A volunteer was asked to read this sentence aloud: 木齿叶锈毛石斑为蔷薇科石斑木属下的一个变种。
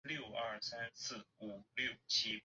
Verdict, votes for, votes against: rejected, 1, 3